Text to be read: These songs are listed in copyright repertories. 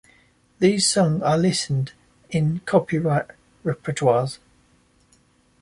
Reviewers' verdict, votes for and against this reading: rejected, 0, 2